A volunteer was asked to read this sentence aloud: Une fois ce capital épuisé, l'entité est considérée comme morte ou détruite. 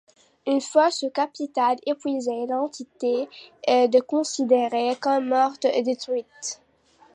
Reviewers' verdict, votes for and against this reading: accepted, 2, 1